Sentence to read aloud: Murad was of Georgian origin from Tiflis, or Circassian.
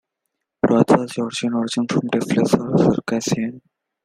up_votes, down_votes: 1, 2